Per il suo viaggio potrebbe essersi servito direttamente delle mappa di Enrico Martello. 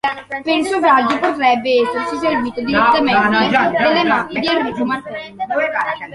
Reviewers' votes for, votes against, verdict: 1, 2, rejected